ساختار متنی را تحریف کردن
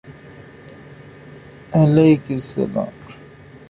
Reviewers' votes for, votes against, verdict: 0, 2, rejected